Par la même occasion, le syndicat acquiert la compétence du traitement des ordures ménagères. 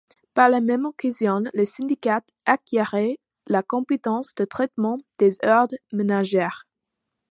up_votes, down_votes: 1, 2